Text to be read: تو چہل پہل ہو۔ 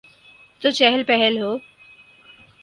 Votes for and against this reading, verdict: 6, 0, accepted